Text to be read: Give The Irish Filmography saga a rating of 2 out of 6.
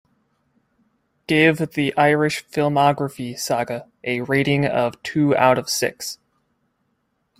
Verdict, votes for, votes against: rejected, 0, 2